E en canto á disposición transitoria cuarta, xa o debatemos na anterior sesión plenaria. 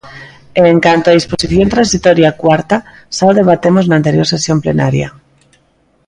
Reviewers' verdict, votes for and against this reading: accepted, 2, 0